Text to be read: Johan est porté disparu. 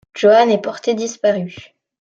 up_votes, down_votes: 2, 0